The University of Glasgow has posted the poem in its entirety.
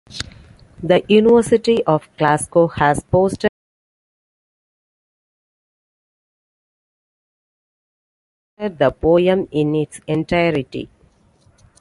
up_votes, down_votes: 0, 2